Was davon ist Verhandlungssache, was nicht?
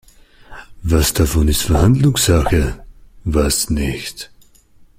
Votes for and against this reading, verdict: 0, 2, rejected